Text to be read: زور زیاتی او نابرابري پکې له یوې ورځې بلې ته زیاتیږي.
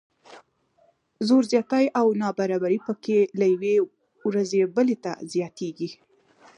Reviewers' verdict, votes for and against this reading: accepted, 2, 0